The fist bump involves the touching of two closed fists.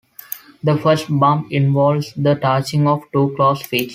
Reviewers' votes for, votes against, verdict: 2, 1, accepted